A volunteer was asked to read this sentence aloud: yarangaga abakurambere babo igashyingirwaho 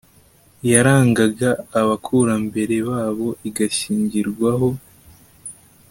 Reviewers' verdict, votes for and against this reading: accepted, 2, 1